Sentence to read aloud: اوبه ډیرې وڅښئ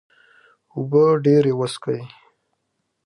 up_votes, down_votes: 2, 1